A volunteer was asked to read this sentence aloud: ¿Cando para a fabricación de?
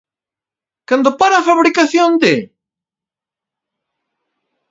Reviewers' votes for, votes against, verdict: 0, 2, rejected